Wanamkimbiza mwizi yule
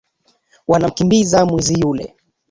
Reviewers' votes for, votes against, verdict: 2, 1, accepted